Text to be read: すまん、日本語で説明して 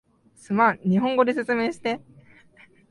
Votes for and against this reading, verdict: 3, 0, accepted